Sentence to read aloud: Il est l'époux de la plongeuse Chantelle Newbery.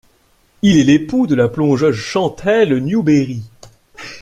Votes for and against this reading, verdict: 2, 0, accepted